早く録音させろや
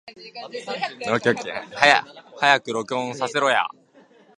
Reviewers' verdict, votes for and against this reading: rejected, 0, 2